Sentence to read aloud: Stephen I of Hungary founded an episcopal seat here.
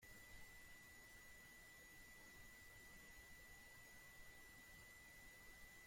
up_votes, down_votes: 0, 2